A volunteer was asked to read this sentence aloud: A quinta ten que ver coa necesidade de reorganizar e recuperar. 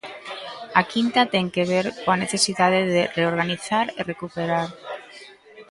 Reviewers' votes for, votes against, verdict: 1, 2, rejected